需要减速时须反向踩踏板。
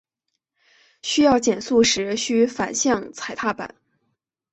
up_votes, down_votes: 2, 0